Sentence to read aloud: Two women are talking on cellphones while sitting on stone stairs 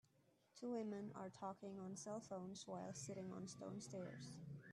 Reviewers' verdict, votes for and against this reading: accepted, 2, 0